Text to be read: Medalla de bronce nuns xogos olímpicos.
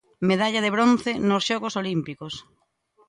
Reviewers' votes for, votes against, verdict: 0, 2, rejected